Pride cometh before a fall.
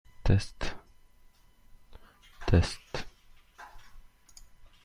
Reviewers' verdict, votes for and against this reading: rejected, 0, 2